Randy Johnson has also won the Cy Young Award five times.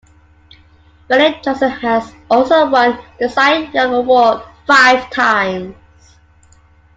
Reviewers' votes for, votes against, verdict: 2, 1, accepted